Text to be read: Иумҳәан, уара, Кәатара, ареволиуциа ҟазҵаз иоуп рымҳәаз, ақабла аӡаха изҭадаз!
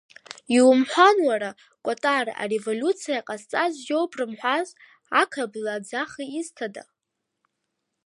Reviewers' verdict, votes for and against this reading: rejected, 0, 2